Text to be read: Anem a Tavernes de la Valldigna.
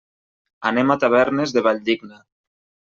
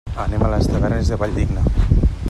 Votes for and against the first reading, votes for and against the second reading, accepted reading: 2, 1, 0, 2, first